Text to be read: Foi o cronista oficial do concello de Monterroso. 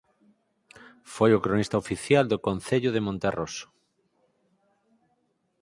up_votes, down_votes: 4, 0